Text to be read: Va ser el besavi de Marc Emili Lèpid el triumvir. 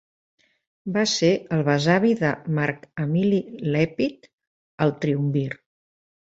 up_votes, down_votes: 2, 0